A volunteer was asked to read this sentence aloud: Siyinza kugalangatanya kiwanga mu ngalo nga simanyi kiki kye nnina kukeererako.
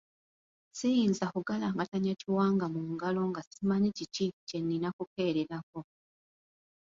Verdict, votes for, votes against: accepted, 2, 0